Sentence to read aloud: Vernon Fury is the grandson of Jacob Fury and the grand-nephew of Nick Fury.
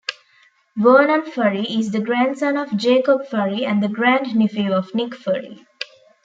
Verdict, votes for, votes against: rejected, 0, 2